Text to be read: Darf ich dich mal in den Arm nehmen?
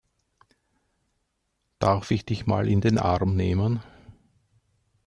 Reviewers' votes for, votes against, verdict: 2, 0, accepted